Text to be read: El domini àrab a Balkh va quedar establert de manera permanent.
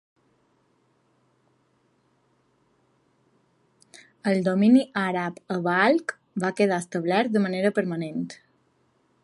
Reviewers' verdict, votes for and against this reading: accepted, 2, 0